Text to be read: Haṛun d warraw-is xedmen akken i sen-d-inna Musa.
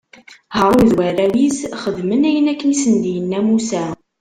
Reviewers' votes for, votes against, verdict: 1, 2, rejected